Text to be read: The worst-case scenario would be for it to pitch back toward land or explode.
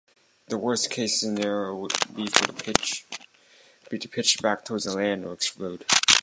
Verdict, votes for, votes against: rejected, 0, 2